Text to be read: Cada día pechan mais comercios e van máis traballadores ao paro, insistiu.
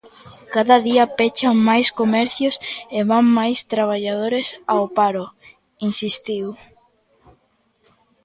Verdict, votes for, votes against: rejected, 1, 2